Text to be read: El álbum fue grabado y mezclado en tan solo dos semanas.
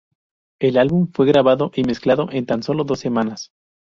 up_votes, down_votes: 4, 0